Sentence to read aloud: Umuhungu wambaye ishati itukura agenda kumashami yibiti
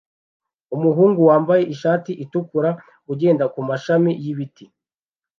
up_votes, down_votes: 0, 2